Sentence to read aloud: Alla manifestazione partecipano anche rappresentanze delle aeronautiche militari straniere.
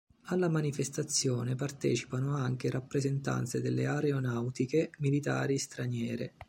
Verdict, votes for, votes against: accepted, 2, 0